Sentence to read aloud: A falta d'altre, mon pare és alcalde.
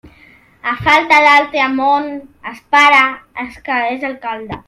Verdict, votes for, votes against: rejected, 0, 2